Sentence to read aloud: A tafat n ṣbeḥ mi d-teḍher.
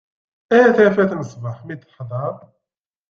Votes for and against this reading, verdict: 2, 0, accepted